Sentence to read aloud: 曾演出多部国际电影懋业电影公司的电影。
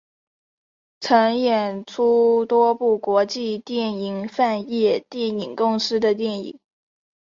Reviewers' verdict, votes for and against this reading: accepted, 6, 0